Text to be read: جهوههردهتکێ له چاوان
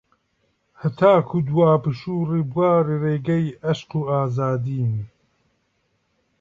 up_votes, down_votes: 0, 2